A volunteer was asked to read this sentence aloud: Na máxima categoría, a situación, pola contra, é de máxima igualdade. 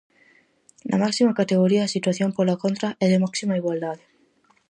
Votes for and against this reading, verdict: 4, 0, accepted